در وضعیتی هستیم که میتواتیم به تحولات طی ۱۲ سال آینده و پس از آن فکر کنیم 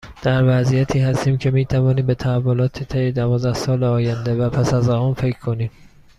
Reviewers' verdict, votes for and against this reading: rejected, 0, 2